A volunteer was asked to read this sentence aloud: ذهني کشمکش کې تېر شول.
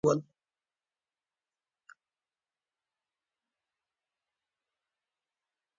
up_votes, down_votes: 1, 2